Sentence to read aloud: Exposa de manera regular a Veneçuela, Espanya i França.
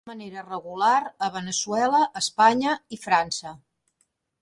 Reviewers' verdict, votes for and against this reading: rejected, 0, 2